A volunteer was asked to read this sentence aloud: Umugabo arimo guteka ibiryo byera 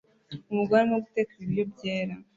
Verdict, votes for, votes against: rejected, 1, 2